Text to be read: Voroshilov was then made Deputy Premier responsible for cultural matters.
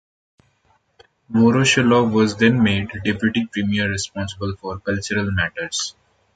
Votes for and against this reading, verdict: 2, 0, accepted